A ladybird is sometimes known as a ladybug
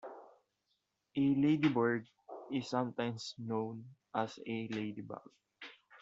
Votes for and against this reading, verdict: 1, 2, rejected